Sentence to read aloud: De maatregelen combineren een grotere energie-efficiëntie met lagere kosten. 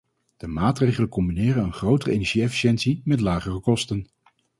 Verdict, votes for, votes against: accepted, 4, 0